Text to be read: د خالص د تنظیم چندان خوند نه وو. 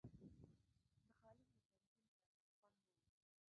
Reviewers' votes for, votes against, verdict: 1, 2, rejected